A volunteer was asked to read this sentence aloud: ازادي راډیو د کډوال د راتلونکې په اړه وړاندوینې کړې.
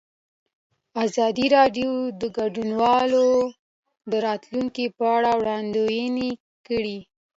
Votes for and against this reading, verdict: 2, 1, accepted